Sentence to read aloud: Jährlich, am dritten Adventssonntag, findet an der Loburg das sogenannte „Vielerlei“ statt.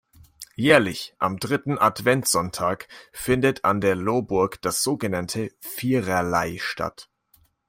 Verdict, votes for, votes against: rejected, 0, 2